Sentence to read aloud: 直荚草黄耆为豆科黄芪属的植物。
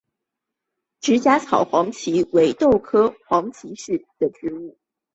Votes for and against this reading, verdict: 3, 1, accepted